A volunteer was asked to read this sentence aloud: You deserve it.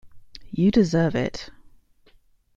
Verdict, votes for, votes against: accepted, 2, 0